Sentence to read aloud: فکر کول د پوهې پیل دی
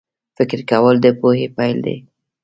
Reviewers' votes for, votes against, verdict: 2, 0, accepted